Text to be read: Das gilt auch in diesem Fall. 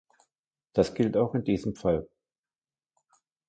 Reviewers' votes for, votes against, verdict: 2, 0, accepted